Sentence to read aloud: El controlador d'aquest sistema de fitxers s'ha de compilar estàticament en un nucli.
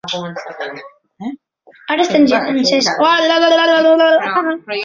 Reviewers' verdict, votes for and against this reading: rejected, 0, 2